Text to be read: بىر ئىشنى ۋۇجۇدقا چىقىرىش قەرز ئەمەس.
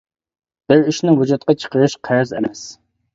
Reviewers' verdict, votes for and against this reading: accepted, 2, 0